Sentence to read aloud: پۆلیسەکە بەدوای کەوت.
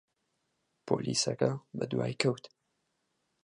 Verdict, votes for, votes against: accepted, 4, 0